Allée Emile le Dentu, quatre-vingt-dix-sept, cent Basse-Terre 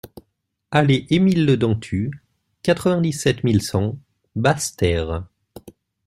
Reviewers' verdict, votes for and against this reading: rejected, 1, 2